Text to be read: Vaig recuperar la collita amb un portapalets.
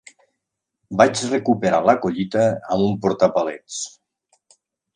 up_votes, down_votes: 1, 2